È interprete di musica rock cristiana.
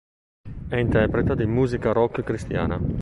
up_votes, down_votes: 2, 0